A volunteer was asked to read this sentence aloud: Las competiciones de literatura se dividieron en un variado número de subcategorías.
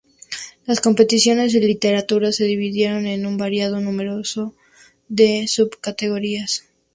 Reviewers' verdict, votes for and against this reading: rejected, 0, 2